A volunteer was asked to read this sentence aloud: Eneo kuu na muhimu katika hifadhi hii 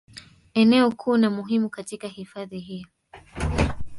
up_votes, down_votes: 1, 2